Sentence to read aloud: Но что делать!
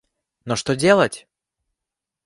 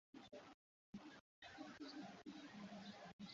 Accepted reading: first